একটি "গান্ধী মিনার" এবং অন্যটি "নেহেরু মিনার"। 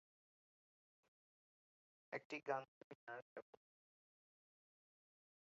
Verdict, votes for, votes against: rejected, 0, 2